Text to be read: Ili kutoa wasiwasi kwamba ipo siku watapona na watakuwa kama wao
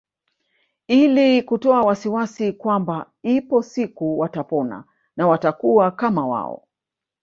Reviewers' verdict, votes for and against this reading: rejected, 1, 2